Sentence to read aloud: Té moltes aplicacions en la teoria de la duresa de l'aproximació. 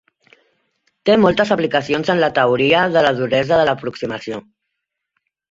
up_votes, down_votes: 3, 0